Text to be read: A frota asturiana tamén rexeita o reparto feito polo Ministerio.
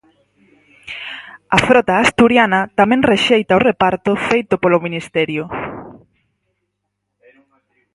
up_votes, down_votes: 2, 2